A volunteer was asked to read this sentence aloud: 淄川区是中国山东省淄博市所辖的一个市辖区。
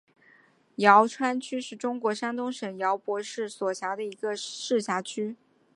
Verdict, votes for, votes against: rejected, 0, 2